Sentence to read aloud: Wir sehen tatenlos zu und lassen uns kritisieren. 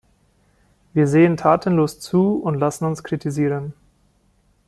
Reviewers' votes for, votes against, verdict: 2, 0, accepted